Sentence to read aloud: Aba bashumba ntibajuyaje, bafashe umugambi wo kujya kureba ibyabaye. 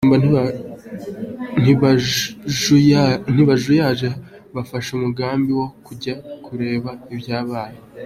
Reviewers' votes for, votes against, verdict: 2, 1, accepted